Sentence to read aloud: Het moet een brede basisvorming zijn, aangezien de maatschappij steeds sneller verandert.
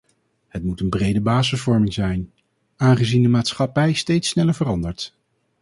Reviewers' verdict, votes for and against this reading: rejected, 2, 2